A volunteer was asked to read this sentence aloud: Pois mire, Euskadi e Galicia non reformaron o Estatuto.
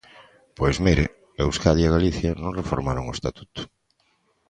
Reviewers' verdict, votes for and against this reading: accepted, 2, 0